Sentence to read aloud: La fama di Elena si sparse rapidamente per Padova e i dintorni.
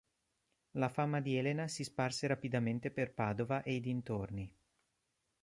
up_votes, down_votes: 2, 0